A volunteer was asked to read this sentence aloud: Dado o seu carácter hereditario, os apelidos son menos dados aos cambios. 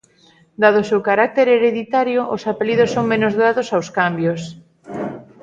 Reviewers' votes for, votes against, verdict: 3, 0, accepted